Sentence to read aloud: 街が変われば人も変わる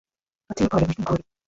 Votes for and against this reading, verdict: 0, 2, rejected